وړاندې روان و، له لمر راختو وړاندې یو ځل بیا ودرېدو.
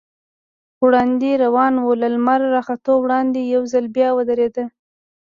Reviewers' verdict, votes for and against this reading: rejected, 1, 2